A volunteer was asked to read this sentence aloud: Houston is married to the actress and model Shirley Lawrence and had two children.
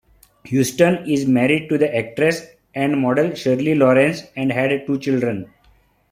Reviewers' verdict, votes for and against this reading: accepted, 2, 0